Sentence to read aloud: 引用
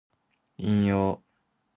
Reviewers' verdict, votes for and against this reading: accepted, 2, 0